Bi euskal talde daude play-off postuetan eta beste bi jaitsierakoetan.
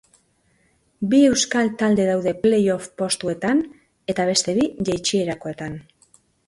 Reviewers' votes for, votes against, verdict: 2, 0, accepted